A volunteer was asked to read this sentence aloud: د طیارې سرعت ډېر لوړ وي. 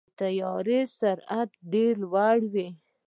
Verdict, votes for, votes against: accepted, 2, 0